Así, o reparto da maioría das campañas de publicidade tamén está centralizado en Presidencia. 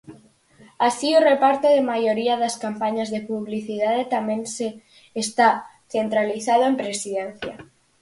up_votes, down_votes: 0, 6